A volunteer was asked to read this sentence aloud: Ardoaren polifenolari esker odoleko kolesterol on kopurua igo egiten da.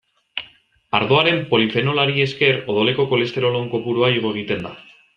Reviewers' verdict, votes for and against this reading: accepted, 2, 0